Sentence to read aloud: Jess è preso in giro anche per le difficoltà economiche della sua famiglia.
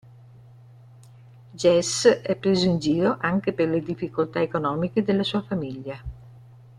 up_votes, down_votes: 0, 2